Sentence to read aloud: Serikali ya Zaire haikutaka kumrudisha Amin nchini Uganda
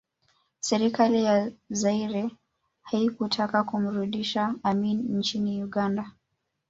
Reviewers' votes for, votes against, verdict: 3, 0, accepted